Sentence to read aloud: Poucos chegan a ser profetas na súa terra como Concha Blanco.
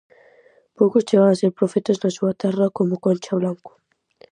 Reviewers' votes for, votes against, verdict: 4, 0, accepted